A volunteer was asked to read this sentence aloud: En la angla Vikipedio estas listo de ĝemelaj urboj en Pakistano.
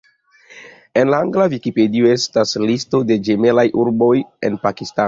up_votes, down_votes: 2, 1